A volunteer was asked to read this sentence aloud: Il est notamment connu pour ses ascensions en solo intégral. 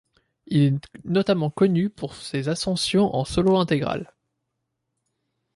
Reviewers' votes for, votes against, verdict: 1, 2, rejected